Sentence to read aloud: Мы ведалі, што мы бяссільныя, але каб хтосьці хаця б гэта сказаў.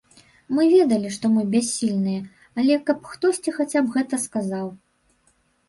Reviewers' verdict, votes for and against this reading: accepted, 3, 0